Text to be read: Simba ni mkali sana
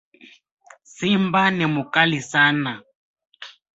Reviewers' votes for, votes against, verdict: 0, 2, rejected